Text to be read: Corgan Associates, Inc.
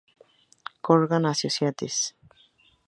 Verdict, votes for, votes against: rejected, 0, 2